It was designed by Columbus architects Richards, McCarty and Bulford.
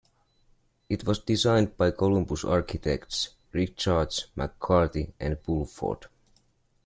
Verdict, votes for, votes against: accepted, 2, 0